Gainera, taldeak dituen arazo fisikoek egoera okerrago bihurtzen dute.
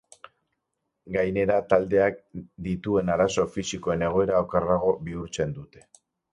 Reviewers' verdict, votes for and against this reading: rejected, 0, 6